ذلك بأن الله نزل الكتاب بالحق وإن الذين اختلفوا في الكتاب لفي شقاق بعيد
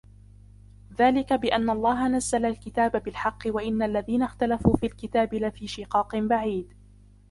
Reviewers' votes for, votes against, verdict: 2, 1, accepted